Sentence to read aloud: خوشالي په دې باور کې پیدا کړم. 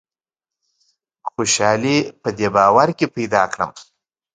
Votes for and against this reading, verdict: 0, 2, rejected